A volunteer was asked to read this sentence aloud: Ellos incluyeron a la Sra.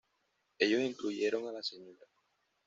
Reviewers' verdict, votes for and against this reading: accepted, 2, 0